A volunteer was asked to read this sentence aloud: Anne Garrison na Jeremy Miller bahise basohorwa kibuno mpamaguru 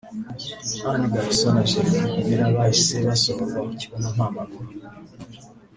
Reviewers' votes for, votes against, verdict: 1, 2, rejected